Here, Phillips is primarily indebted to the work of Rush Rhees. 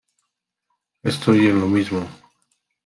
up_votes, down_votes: 0, 2